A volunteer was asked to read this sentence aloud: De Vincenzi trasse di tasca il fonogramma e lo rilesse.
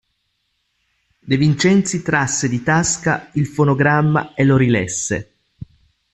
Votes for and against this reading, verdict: 2, 0, accepted